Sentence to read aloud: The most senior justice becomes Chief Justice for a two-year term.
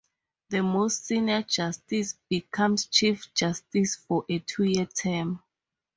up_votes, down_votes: 4, 0